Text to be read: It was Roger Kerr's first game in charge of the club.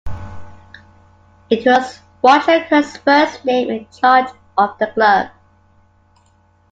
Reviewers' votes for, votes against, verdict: 1, 2, rejected